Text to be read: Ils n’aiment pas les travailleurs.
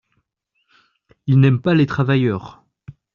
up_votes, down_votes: 2, 0